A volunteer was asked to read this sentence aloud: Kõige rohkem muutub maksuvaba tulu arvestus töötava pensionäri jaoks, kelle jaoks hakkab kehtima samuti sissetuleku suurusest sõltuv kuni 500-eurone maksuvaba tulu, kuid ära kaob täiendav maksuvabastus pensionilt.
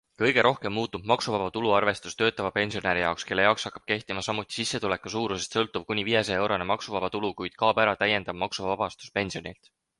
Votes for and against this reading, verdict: 0, 2, rejected